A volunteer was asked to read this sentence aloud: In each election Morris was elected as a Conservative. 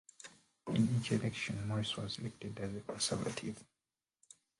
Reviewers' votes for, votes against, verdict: 0, 2, rejected